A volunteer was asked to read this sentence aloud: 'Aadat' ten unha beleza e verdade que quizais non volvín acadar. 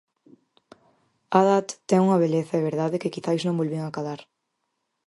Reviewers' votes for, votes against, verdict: 4, 0, accepted